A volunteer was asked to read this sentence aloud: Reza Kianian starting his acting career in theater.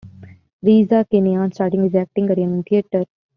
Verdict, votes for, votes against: rejected, 1, 2